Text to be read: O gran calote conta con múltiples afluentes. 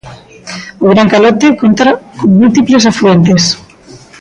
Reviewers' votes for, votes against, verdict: 1, 2, rejected